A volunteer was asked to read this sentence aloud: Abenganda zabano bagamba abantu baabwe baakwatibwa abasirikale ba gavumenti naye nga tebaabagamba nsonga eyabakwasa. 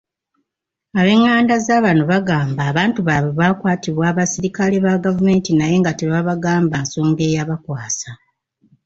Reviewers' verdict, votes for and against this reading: accepted, 2, 1